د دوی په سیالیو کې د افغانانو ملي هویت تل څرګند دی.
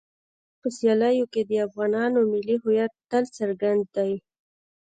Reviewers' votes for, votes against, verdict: 1, 2, rejected